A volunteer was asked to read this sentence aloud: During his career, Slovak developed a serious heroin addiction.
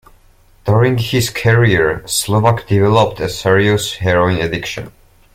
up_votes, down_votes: 2, 0